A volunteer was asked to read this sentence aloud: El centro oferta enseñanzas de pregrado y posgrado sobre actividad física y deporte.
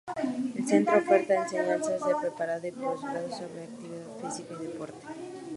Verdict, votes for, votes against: rejected, 0, 4